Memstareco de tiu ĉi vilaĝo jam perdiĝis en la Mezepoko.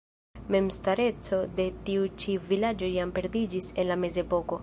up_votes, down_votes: 0, 2